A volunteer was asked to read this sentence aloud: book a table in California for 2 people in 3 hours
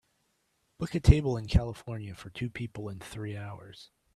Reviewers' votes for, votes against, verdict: 0, 2, rejected